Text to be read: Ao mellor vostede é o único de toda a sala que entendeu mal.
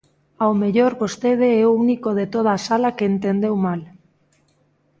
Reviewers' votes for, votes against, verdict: 2, 0, accepted